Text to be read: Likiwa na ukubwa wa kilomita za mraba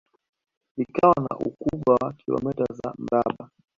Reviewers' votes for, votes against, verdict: 0, 2, rejected